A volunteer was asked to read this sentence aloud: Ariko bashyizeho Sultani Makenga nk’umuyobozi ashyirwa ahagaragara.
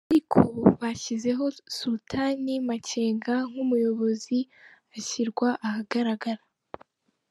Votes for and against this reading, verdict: 2, 1, accepted